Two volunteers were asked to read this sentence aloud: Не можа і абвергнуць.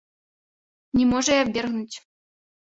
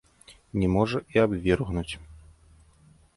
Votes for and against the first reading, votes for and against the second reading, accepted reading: 2, 0, 1, 2, first